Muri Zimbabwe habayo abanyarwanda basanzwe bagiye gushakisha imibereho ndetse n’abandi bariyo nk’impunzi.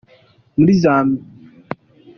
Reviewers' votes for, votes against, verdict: 0, 2, rejected